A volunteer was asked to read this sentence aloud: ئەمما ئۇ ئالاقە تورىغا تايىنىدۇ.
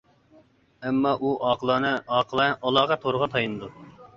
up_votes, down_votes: 0, 2